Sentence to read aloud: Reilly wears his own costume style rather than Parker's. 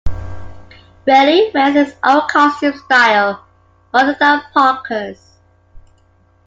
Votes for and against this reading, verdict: 2, 1, accepted